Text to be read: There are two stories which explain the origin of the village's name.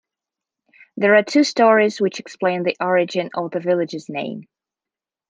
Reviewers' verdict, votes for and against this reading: accepted, 2, 0